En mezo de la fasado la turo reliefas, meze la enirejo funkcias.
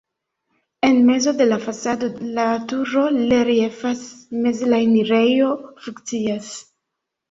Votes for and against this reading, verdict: 0, 2, rejected